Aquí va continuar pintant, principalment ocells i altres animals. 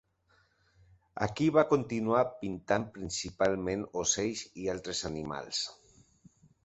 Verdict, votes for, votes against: accepted, 3, 0